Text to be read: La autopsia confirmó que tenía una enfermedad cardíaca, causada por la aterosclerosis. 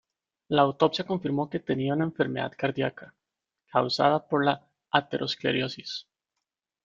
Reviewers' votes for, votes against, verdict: 1, 2, rejected